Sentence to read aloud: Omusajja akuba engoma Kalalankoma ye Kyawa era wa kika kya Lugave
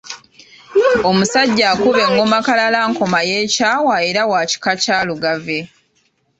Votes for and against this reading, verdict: 2, 0, accepted